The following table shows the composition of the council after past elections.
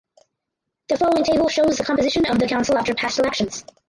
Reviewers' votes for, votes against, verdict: 2, 4, rejected